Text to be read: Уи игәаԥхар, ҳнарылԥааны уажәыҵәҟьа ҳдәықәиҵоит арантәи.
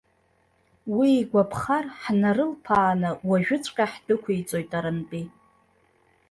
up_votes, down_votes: 0, 2